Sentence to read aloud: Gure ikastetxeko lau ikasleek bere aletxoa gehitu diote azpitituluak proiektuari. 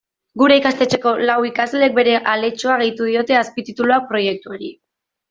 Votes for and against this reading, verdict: 2, 0, accepted